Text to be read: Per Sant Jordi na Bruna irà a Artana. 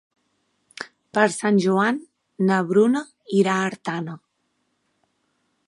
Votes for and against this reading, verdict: 0, 2, rejected